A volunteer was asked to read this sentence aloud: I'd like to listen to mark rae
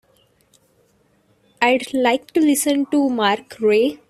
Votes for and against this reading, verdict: 3, 0, accepted